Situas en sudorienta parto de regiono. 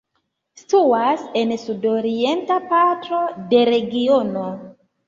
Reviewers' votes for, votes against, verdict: 1, 2, rejected